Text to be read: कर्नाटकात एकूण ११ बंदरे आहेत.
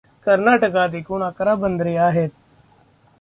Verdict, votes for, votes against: rejected, 0, 2